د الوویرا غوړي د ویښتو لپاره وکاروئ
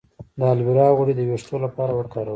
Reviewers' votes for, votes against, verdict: 0, 2, rejected